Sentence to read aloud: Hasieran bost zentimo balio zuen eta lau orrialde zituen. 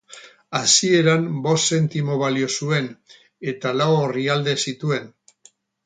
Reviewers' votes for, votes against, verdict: 2, 2, rejected